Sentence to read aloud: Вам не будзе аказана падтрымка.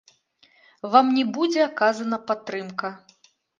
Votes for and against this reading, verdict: 1, 2, rejected